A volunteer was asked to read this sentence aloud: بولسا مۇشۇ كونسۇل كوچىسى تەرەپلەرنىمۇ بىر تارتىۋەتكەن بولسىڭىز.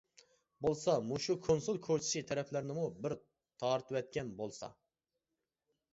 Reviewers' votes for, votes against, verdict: 0, 2, rejected